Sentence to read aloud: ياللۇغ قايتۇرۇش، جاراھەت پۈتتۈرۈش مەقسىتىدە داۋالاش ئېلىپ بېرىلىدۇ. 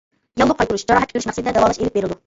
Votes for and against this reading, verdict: 0, 2, rejected